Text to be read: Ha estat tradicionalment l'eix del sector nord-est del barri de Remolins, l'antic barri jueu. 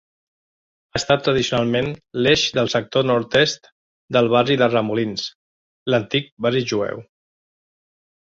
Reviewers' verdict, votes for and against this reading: accepted, 2, 1